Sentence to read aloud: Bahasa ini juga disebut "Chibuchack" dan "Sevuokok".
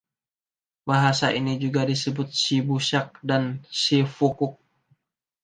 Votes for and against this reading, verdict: 1, 2, rejected